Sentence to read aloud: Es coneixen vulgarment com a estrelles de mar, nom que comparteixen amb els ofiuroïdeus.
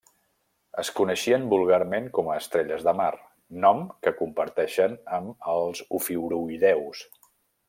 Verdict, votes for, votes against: rejected, 0, 2